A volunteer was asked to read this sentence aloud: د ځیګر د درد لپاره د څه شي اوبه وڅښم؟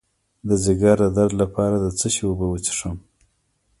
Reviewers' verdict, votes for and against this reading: rejected, 1, 2